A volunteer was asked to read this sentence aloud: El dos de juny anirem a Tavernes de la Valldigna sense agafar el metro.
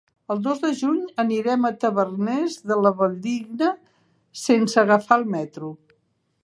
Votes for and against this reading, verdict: 1, 2, rejected